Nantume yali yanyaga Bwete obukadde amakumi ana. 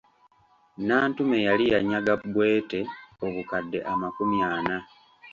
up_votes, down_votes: 2, 0